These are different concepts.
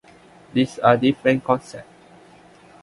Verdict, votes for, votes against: accepted, 2, 1